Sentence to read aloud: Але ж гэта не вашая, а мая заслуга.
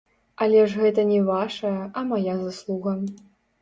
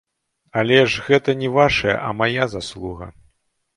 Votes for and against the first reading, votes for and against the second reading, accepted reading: 1, 2, 2, 0, second